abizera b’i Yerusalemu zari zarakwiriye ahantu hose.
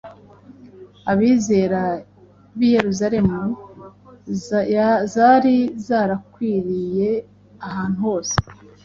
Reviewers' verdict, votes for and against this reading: rejected, 1, 2